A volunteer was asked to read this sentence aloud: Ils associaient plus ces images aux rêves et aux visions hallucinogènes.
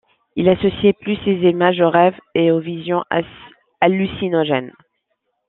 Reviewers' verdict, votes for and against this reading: rejected, 1, 2